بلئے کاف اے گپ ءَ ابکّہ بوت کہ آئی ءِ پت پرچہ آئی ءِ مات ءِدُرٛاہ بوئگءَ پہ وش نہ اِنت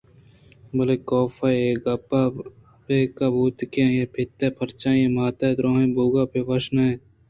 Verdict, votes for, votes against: accepted, 2, 0